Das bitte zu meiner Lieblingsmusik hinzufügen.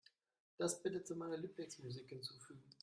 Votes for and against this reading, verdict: 1, 2, rejected